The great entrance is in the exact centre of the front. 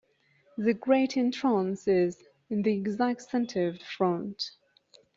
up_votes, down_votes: 1, 2